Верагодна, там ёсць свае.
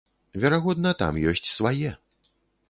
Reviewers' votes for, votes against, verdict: 3, 0, accepted